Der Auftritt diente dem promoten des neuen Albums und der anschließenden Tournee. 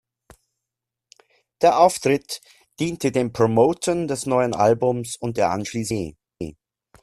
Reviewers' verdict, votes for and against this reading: rejected, 0, 2